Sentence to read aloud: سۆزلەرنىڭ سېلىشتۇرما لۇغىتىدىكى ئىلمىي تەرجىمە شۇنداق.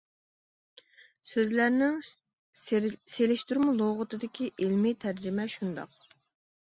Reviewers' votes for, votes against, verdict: 1, 2, rejected